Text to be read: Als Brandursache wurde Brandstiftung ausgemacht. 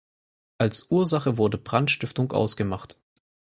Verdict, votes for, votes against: rejected, 0, 4